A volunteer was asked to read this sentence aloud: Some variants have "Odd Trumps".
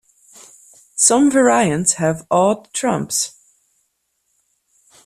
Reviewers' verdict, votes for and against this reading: accepted, 2, 1